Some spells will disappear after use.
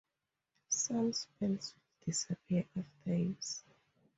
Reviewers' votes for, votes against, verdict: 2, 0, accepted